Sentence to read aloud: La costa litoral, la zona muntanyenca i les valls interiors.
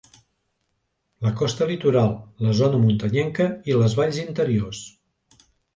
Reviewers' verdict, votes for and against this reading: accepted, 2, 0